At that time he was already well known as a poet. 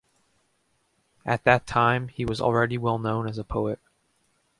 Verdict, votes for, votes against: accepted, 2, 0